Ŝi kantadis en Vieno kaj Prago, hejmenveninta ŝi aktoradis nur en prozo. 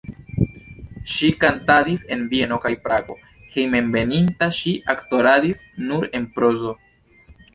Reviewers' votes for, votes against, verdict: 2, 0, accepted